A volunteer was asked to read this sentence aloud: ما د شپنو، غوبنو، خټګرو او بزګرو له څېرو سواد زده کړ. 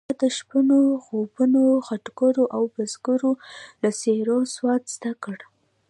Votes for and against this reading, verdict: 2, 1, accepted